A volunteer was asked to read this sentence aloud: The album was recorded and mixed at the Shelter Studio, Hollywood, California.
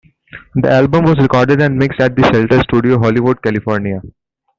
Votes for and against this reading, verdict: 0, 2, rejected